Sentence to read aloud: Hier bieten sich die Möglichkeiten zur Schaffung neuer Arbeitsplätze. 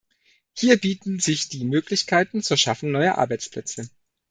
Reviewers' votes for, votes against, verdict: 2, 0, accepted